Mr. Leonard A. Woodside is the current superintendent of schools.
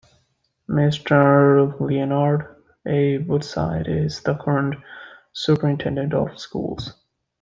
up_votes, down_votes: 2, 0